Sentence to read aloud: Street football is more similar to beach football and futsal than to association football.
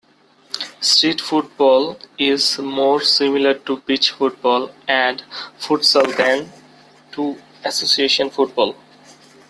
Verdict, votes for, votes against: accepted, 2, 1